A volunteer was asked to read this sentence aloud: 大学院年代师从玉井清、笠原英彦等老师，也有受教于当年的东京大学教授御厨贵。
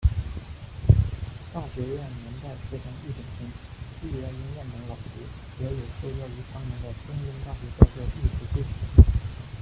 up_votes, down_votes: 0, 2